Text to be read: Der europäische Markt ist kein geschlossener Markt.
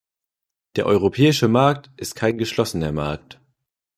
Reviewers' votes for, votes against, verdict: 2, 0, accepted